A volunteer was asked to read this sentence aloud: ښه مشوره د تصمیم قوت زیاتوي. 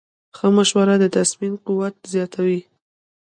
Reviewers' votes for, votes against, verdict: 1, 2, rejected